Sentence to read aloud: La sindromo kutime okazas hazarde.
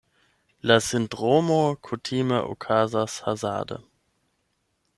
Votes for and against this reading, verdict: 0, 8, rejected